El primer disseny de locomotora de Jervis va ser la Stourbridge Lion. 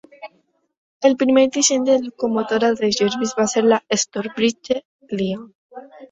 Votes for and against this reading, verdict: 1, 2, rejected